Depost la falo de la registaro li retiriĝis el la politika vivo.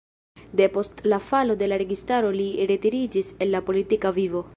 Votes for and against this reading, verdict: 4, 3, accepted